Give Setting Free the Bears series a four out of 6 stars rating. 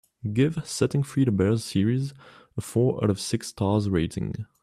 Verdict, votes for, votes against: rejected, 0, 2